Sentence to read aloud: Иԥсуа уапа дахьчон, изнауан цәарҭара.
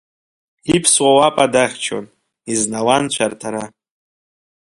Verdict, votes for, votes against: accepted, 3, 0